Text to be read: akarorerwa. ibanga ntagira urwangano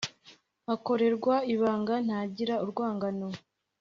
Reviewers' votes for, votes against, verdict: 4, 0, accepted